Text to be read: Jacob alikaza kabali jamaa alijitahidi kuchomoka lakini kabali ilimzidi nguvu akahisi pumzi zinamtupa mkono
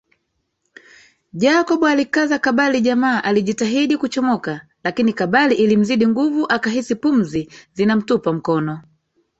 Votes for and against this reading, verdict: 1, 2, rejected